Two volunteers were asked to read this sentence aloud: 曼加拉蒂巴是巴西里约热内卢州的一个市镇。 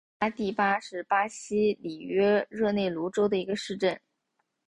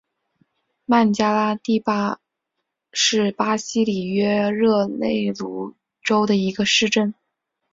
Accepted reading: first